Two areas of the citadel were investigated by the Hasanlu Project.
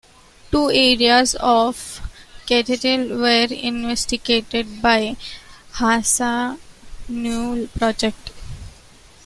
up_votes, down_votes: 0, 2